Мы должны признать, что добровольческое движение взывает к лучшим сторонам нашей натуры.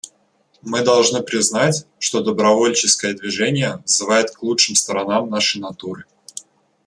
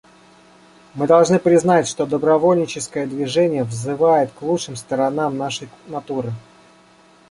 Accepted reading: first